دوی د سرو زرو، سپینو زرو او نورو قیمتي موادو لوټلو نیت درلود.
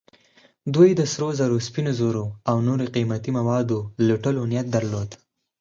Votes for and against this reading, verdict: 4, 0, accepted